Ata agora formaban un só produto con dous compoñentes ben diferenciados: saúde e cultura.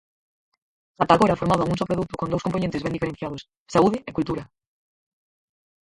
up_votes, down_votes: 2, 4